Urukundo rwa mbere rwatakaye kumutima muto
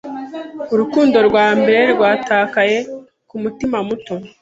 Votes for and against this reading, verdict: 2, 1, accepted